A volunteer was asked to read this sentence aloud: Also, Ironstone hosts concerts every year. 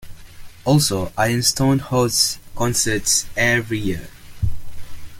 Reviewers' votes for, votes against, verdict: 2, 0, accepted